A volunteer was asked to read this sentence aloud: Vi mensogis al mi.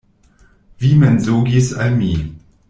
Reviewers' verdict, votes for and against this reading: rejected, 1, 2